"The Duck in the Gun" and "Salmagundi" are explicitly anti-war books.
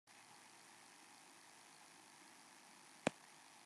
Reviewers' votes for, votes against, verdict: 0, 2, rejected